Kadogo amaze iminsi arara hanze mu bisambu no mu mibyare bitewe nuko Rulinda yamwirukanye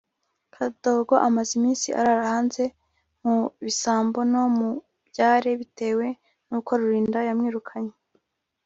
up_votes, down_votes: 0, 2